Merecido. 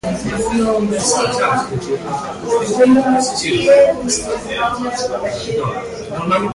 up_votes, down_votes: 0, 2